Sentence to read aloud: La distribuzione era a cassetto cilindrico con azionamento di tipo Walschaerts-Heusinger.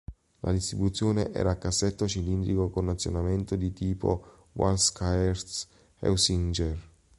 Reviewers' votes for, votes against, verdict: 1, 3, rejected